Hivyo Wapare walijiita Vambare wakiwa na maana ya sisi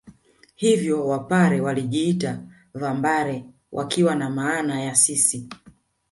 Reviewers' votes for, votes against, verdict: 1, 2, rejected